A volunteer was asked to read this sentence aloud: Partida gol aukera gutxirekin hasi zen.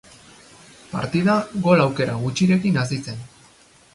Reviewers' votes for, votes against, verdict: 2, 0, accepted